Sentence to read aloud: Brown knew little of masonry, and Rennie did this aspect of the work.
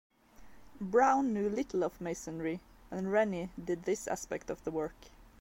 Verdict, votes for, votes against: accepted, 2, 0